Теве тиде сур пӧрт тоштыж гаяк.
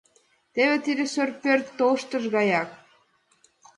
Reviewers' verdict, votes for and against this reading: rejected, 0, 2